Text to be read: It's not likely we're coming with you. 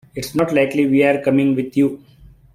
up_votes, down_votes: 2, 1